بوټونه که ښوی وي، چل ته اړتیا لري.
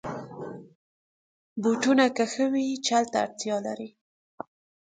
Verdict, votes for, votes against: rejected, 1, 2